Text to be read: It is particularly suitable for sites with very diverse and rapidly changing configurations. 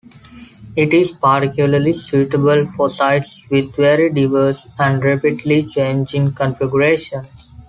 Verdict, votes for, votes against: rejected, 1, 2